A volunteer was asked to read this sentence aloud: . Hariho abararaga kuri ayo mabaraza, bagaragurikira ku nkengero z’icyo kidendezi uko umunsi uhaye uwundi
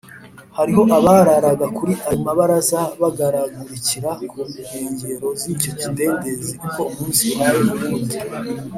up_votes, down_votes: 3, 0